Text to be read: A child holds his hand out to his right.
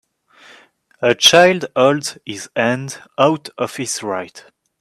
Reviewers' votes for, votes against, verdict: 2, 7, rejected